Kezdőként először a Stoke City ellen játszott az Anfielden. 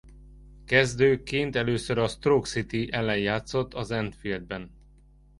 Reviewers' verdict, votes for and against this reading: rejected, 1, 2